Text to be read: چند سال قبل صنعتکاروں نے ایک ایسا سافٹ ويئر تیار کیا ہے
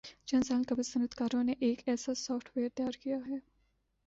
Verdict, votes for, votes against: accepted, 2, 0